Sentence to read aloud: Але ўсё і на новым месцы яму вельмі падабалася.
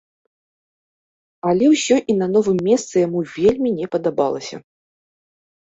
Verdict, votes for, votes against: rejected, 1, 2